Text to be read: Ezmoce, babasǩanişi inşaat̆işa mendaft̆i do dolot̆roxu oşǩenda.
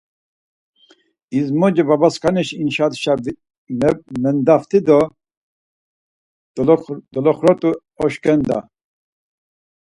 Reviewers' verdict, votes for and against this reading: rejected, 2, 4